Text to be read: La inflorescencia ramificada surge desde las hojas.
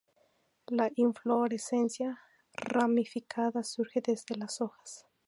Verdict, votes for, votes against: accepted, 2, 0